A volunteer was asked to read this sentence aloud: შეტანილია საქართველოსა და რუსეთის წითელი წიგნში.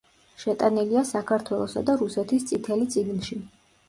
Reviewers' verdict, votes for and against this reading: accepted, 2, 0